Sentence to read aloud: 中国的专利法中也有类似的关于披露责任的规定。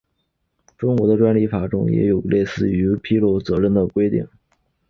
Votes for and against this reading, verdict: 2, 3, rejected